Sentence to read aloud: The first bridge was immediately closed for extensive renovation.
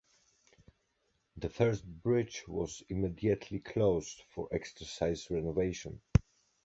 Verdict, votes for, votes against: rejected, 0, 2